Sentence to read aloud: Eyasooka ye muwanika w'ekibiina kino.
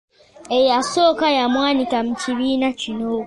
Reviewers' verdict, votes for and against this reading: accepted, 2, 1